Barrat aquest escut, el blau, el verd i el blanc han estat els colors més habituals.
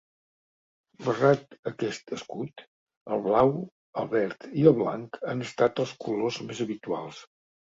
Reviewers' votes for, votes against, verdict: 2, 1, accepted